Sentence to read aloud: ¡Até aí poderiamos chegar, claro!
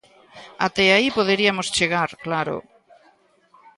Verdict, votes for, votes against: rejected, 1, 2